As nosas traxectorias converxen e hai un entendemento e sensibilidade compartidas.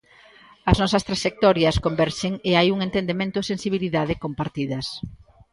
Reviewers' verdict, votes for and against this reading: accepted, 2, 0